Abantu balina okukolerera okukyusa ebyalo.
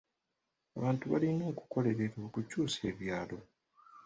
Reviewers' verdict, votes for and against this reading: rejected, 1, 2